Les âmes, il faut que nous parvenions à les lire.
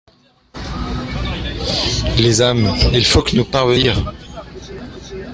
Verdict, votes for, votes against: rejected, 0, 2